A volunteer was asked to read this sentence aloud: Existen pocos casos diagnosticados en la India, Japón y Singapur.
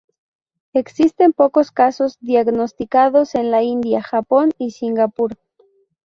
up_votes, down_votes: 2, 0